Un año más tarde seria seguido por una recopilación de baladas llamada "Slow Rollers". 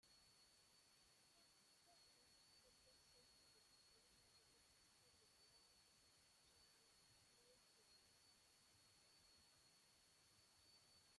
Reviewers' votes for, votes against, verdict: 0, 2, rejected